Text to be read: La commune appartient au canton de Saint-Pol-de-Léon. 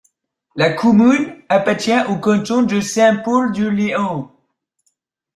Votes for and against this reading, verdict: 0, 2, rejected